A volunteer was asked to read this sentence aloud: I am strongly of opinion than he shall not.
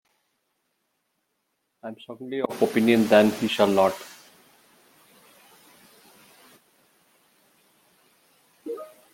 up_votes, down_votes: 0, 2